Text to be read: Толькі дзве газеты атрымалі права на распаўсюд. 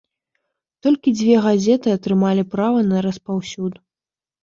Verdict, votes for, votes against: accepted, 2, 0